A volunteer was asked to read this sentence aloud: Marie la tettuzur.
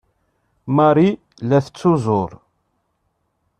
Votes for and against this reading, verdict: 0, 2, rejected